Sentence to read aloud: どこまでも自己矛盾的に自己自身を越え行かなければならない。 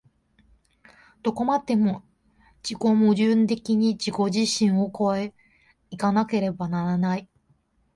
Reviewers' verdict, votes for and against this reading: accepted, 4, 2